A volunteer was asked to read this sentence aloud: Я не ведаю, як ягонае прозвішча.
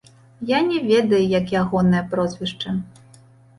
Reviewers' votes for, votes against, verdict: 2, 0, accepted